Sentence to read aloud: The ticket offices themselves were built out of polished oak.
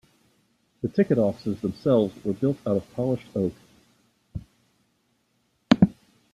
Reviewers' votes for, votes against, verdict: 2, 0, accepted